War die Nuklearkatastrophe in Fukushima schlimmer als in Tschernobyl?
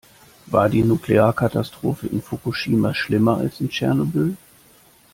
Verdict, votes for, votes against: accepted, 2, 1